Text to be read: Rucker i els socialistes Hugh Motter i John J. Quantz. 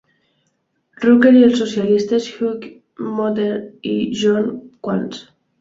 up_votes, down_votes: 0, 2